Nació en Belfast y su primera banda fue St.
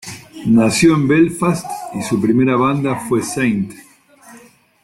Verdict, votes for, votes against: accepted, 2, 0